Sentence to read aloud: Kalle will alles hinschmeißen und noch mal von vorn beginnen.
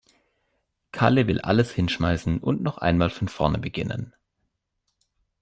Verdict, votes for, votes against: rejected, 1, 2